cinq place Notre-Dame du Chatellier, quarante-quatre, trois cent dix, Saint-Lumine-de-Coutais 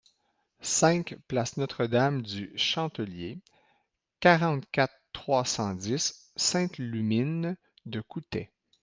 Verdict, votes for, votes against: rejected, 1, 2